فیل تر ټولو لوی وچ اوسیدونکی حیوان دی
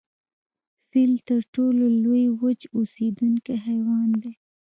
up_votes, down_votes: 1, 2